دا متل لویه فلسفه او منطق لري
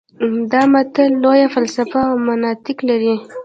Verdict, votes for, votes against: rejected, 1, 2